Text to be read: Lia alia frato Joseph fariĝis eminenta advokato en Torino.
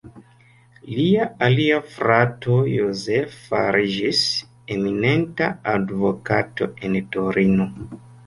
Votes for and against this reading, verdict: 0, 2, rejected